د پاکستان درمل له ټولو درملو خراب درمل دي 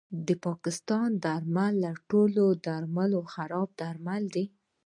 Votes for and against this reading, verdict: 2, 0, accepted